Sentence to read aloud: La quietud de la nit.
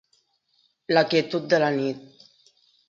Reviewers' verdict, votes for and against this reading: accepted, 3, 0